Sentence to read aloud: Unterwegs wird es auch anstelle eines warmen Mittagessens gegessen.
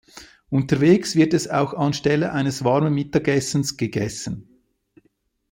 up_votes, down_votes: 2, 0